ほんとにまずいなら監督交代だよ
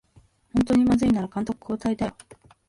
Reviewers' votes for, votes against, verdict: 6, 8, rejected